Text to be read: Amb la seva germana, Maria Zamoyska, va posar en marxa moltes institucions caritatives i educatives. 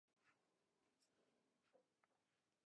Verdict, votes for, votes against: rejected, 0, 3